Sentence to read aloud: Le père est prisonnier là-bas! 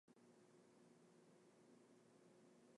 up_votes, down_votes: 0, 2